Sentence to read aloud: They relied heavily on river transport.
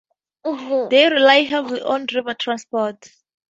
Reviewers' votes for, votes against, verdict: 2, 2, rejected